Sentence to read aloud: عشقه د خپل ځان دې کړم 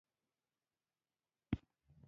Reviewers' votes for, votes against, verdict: 1, 2, rejected